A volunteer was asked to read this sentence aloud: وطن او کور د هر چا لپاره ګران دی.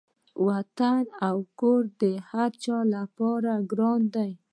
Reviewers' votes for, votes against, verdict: 1, 2, rejected